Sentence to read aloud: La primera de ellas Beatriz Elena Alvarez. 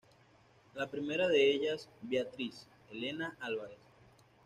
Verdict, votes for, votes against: accepted, 2, 0